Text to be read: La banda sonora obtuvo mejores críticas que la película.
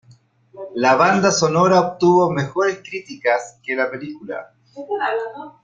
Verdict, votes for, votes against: accepted, 3, 1